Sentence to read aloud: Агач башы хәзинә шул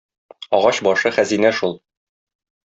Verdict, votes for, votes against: accepted, 2, 0